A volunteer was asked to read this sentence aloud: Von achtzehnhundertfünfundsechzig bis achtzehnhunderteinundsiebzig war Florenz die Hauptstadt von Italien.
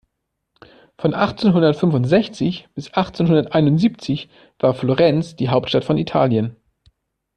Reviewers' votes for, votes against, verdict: 2, 0, accepted